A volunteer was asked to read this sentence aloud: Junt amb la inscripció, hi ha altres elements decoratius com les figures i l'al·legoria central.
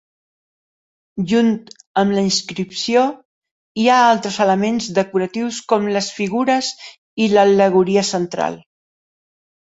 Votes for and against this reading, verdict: 2, 0, accepted